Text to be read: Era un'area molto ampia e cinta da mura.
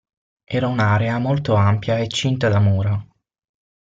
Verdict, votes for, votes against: accepted, 6, 0